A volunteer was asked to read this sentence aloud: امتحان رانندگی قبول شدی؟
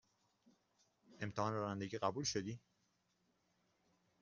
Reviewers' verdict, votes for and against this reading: rejected, 1, 2